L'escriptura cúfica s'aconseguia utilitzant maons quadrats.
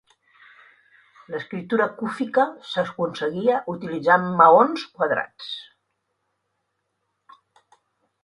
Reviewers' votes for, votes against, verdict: 0, 2, rejected